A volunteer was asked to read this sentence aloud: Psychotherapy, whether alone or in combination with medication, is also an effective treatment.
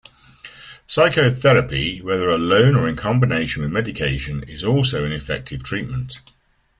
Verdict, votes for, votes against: accepted, 2, 0